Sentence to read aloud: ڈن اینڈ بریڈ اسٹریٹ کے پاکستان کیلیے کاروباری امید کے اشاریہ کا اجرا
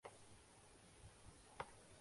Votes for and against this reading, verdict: 0, 2, rejected